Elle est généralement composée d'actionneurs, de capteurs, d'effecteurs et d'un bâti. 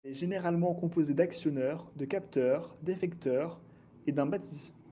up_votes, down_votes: 0, 2